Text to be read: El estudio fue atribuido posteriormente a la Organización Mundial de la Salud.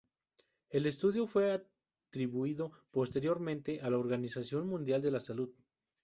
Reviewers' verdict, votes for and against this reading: accepted, 2, 0